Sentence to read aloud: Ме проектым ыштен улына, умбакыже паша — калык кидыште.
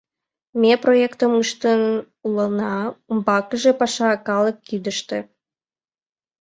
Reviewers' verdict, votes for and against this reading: accepted, 2, 0